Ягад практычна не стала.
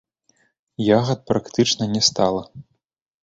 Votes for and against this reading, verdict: 3, 0, accepted